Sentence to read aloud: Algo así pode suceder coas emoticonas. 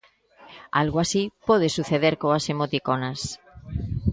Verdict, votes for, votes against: rejected, 1, 2